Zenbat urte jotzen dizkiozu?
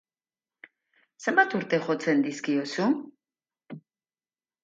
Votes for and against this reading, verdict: 4, 0, accepted